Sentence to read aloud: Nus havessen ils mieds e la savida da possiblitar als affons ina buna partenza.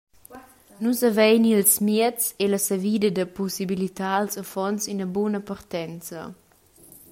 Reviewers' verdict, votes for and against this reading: rejected, 0, 2